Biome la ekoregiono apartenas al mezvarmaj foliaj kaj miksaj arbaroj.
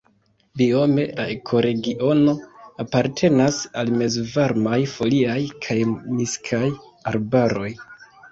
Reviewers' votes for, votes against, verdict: 0, 2, rejected